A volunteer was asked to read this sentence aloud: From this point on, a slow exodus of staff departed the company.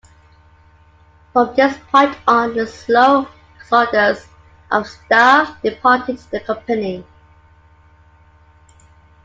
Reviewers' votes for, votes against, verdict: 2, 1, accepted